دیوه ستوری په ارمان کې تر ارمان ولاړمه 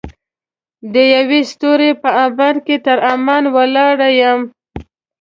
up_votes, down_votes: 1, 2